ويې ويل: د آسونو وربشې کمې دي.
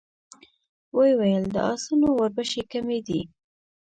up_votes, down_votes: 1, 2